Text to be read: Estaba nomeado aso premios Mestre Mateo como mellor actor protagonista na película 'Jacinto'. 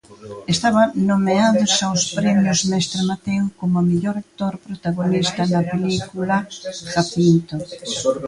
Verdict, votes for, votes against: rejected, 0, 2